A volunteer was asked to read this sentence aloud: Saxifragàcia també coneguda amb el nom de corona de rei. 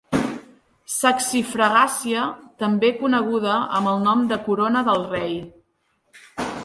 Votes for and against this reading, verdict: 0, 2, rejected